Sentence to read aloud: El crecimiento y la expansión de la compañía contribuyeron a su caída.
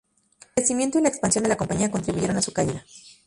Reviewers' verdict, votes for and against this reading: rejected, 2, 2